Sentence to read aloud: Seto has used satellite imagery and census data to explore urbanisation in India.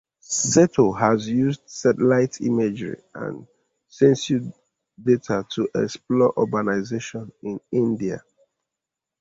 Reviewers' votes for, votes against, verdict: 2, 0, accepted